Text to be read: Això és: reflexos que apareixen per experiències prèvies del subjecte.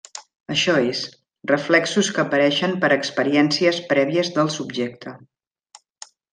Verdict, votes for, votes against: accepted, 3, 0